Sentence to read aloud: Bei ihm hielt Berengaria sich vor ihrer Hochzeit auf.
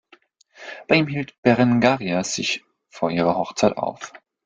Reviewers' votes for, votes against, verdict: 2, 1, accepted